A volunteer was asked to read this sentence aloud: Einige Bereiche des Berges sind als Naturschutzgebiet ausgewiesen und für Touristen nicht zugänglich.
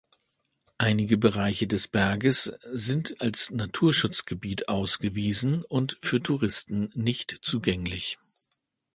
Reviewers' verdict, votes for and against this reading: accepted, 2, 0